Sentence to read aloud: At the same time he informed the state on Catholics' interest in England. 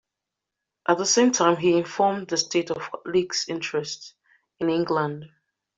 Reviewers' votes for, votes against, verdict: 0, 2, rejected